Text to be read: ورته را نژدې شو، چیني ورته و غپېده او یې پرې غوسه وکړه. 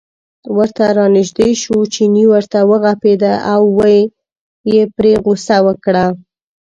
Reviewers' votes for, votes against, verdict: 1, 2, rejected